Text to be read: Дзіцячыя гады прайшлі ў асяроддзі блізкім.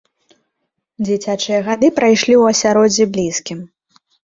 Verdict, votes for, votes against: accepted, 2, 0